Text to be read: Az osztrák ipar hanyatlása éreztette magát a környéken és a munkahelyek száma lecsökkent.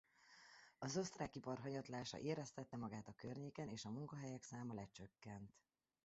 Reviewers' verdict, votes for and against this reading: rejected, 0, 2